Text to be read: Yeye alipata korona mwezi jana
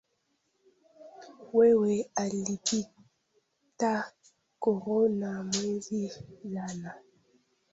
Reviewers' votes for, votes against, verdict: 0, 2, rejected